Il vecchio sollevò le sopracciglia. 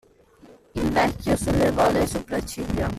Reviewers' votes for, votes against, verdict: 1, 2, rejected